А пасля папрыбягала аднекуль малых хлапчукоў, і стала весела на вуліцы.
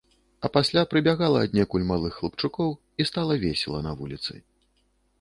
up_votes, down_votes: 1, 2